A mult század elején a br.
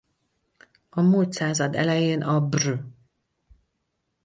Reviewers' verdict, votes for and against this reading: rejected, 2, 2